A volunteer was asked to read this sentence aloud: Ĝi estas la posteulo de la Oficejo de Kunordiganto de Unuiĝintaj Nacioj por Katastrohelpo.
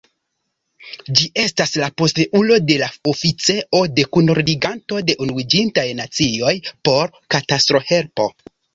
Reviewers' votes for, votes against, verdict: 1, 2, rejected